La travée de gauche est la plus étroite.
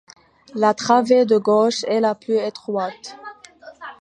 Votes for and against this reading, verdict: 2, 0, accepted